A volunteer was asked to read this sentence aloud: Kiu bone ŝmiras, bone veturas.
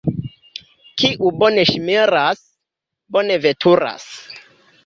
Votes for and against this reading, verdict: 0, 2, rejected